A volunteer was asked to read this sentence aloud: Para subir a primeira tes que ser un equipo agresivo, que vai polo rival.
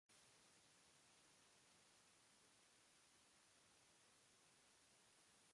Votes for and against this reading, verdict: 0, 2, rejected